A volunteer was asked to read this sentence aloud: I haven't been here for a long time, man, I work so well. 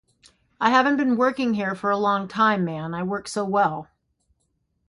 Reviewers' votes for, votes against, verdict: 3, 0, accepted